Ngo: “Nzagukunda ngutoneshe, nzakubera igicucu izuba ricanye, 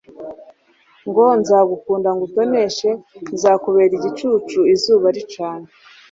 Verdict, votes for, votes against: accepted, 2, 0